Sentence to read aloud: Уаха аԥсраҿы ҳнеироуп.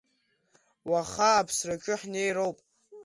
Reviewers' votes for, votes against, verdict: 2, 0, accepted